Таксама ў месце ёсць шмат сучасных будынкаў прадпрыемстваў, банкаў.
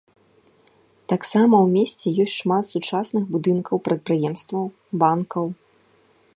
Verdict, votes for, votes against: accepted, 2, 0